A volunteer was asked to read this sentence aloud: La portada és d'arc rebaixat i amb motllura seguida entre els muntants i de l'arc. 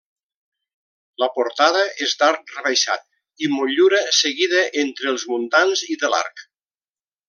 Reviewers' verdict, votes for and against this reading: rejected, 0, 2